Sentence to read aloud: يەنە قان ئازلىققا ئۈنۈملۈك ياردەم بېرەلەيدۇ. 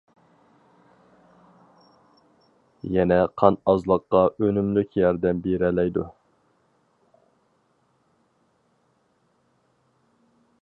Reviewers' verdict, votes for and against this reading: accepted, 4, 0